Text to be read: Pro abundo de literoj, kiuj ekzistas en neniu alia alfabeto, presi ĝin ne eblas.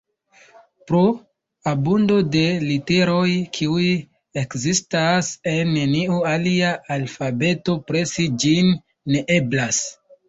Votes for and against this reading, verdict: 1, 2, rejected